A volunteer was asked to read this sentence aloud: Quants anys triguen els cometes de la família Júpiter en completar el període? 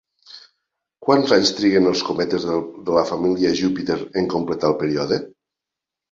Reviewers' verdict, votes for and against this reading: rejected, 1, 2